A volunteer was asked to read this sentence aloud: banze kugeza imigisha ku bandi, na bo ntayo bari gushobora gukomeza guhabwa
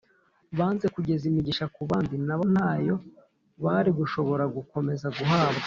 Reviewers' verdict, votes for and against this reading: accepted, 3, 0